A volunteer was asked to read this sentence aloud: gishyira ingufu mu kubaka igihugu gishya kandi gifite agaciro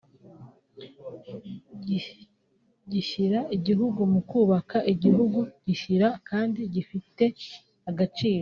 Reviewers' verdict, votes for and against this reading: rejected, 1, 2